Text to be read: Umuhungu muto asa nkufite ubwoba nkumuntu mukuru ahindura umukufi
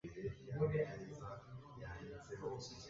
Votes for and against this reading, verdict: 0, 3, rejected